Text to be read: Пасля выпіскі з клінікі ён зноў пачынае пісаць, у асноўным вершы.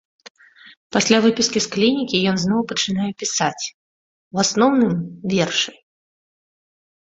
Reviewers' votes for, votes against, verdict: 2, 1, accepted